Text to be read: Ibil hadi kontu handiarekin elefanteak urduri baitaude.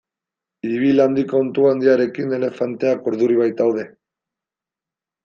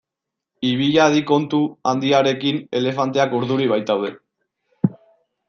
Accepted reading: second